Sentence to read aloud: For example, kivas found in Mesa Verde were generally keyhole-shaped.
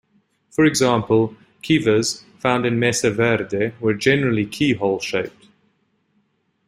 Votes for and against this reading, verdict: 1, 2, rejected